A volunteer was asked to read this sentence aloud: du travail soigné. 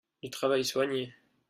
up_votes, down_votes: 0, 2